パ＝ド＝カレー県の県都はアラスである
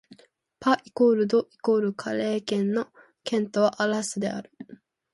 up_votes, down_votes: 1, 2